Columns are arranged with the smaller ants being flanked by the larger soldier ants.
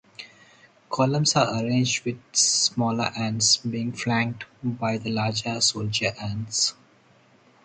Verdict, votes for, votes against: rejected, 0, 2